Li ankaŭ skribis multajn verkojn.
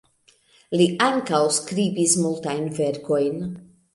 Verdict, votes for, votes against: accepted, 2, 0